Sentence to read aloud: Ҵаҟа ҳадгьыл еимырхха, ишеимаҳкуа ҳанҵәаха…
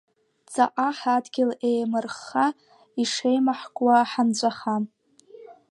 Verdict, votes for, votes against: accepted, 2, 0